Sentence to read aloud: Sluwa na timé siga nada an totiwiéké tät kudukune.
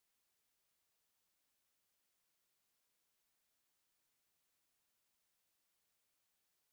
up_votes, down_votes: 0, 2